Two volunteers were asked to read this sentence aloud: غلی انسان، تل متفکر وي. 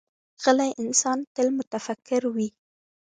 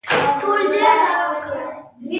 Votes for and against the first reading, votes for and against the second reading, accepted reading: 3, 0, 0, 2, first